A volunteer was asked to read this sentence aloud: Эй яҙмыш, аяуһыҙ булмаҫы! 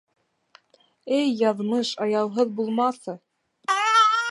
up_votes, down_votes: 0, 2